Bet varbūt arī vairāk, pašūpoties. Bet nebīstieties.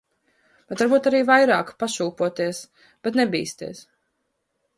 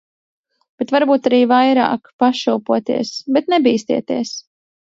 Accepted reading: second